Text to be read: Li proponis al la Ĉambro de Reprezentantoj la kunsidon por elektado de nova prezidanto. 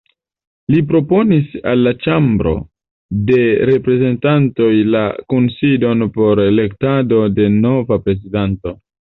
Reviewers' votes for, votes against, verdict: 2, 0, accepted